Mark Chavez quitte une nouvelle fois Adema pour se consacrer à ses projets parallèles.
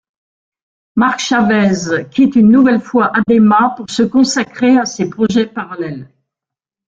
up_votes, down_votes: 3, 1